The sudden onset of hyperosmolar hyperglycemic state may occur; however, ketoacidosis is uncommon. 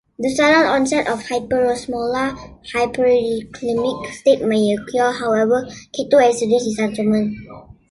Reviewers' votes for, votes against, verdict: 1, 2, rejected